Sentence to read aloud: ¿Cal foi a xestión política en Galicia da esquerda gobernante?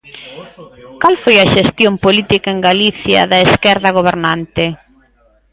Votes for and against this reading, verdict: 0, 2, rejected